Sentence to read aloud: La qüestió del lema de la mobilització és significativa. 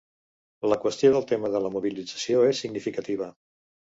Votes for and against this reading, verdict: 1, 2, rejected